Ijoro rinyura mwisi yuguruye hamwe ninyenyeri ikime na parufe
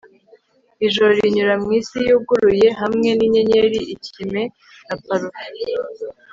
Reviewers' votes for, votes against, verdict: 2, 0, accepted